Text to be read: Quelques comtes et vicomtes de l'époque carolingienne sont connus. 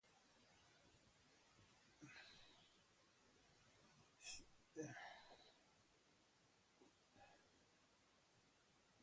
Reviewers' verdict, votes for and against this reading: rejected, 0, 2